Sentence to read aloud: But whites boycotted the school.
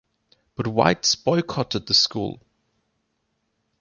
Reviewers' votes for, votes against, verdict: 2, 0, accepted